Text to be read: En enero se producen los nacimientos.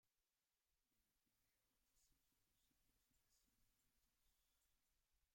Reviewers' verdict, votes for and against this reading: rejected, 0, 2